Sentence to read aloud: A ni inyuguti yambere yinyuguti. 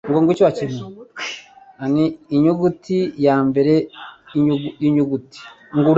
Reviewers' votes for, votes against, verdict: 1, 2, rejected